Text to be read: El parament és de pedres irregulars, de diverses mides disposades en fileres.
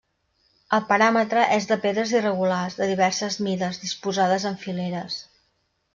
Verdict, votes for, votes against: rejected, 0, 2